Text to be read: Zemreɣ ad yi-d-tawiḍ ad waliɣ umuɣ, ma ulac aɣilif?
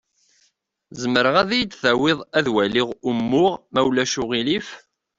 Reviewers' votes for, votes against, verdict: 2, 0, accepted